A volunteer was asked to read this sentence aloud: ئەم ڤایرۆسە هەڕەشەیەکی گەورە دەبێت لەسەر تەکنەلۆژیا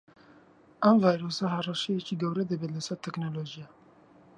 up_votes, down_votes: 1, 2